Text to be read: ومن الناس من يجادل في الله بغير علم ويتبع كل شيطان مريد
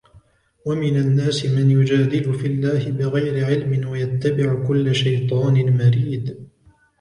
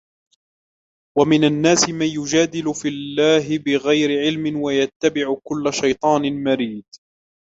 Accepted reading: first